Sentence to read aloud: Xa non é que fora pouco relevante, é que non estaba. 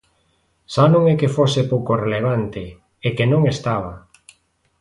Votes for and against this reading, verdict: 1, 2, rejected